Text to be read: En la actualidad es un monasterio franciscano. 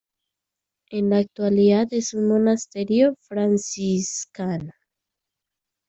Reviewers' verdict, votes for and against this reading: accepted, 2, 1